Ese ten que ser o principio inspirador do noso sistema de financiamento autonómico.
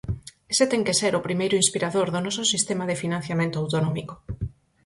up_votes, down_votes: 0, 4